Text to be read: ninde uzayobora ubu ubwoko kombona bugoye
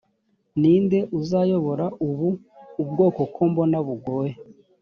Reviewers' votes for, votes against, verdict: 2, 0, accepted